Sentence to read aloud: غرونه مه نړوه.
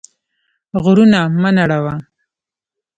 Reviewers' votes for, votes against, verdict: 1, 2, rejected